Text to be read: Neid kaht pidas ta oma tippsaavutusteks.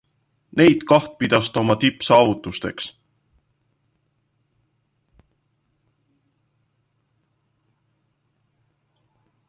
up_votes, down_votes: 2, 1